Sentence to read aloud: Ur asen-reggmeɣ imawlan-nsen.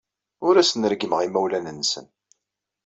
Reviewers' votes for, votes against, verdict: 2, 0, accepted